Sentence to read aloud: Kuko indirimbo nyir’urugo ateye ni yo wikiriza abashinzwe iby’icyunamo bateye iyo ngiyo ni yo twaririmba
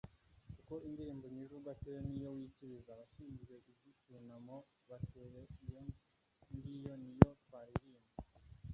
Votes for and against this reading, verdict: 0, 2, rejected